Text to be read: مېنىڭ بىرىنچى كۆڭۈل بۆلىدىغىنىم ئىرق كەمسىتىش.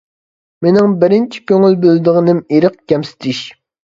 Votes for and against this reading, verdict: 2, 0, accepted